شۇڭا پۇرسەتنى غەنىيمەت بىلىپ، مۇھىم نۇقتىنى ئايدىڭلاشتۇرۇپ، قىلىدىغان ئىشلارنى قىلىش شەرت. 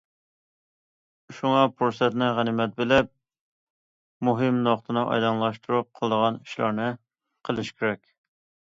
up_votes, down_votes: 0, 2